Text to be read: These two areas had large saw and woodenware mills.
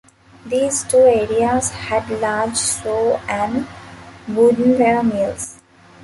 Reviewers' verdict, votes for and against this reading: rejected, 1, 2